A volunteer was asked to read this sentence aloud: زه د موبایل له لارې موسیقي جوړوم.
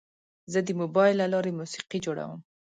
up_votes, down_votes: 2, 0